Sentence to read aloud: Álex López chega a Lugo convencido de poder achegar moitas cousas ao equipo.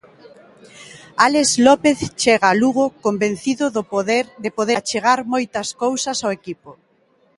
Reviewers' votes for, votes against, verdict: 0, 2, rejected